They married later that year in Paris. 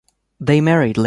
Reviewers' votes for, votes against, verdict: 2, 3, rejected